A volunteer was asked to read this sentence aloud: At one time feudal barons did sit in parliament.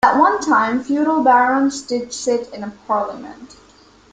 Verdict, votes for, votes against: accepted, 2, 1